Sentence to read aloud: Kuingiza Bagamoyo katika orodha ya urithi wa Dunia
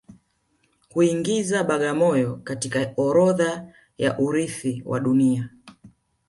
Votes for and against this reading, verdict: 2, 0, accepted